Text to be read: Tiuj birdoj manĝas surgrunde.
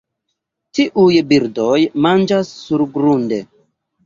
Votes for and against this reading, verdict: 2, 0, accepted